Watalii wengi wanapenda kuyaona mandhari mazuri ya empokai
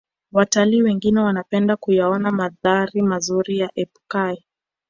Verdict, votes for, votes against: rejected, 1, 2